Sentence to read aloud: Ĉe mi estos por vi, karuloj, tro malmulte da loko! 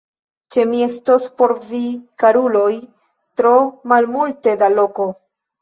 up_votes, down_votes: 2, 1